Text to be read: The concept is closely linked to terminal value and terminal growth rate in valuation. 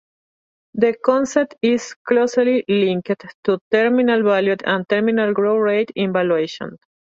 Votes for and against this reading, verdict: 1, 2, rejected